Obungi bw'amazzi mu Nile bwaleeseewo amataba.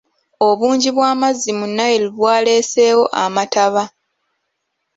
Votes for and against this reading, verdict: 1, 2, rejected